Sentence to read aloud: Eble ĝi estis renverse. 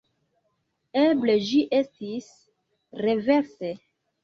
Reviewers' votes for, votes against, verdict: 0, 2, rejected